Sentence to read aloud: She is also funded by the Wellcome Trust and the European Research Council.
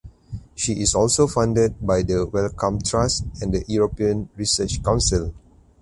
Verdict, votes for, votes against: accepted, 4, 0